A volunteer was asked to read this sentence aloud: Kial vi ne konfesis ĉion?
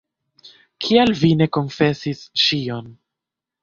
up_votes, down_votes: 2, 1